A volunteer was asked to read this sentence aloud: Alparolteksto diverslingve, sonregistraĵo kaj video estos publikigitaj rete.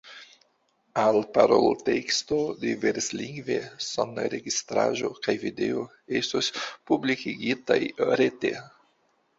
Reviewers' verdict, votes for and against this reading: accepted, 2, 0